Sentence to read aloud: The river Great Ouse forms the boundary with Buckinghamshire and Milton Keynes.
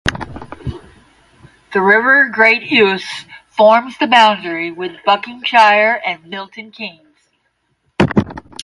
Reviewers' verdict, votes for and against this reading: rejected, 5, 10